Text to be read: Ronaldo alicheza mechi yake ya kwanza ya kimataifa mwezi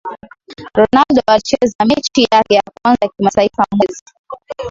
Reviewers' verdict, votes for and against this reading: rejected, 0, 2